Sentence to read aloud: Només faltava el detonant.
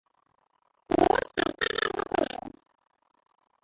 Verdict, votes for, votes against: rejected, 0, 2